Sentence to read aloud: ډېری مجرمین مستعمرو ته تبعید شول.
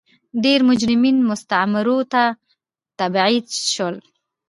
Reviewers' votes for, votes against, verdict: 1, 2, rejected